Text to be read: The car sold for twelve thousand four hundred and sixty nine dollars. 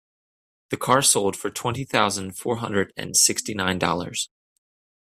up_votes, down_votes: 0, 2